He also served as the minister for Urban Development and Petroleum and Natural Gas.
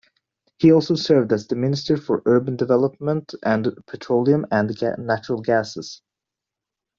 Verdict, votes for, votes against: rejected, 0, 2